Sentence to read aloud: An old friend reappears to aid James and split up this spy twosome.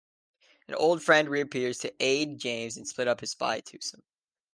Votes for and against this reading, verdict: 2, 0, accepted